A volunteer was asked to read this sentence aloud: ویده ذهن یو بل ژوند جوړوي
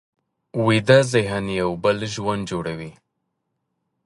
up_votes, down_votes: 3, 0